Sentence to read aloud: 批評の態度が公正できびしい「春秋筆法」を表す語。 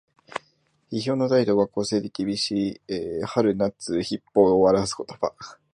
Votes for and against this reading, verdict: 0, 2, rejected